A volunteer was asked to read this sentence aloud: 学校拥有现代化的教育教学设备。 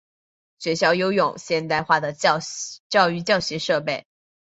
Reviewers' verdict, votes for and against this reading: accepted, 2, 1